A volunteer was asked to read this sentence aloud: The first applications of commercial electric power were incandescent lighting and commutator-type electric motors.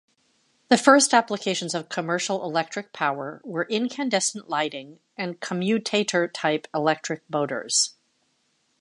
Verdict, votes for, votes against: accepted, 2, 0